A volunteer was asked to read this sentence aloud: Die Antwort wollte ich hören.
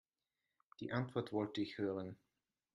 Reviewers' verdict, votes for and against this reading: accepted, 2, 1